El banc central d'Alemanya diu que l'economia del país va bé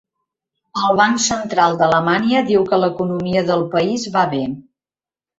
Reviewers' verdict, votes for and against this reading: rejected, 1, 2